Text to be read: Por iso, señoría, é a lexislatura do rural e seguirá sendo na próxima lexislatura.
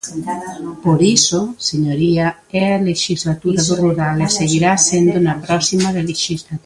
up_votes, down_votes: 0, 2